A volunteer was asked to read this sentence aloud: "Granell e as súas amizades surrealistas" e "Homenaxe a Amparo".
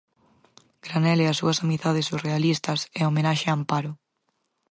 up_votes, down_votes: 4, 0